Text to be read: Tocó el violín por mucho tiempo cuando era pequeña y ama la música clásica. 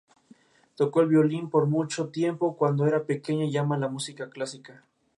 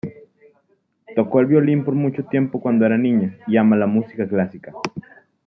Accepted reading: first